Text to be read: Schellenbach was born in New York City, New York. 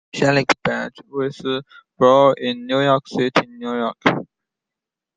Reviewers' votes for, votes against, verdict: 2, 1, accepted